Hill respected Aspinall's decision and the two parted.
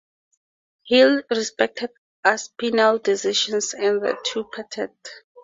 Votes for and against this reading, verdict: 2, 0, accepted